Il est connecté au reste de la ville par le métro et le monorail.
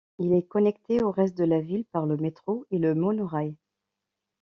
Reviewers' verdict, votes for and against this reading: accepted, 2, 0